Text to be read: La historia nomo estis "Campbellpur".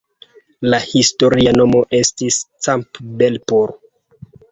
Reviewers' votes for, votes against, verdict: 2, 0, accepted